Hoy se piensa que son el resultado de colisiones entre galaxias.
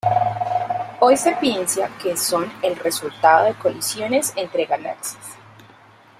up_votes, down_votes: 0, 2